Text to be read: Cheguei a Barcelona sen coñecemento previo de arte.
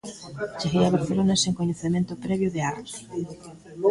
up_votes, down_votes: 1, 2